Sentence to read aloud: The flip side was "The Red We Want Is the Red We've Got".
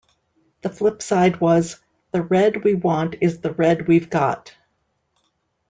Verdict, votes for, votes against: accepted, 2, 0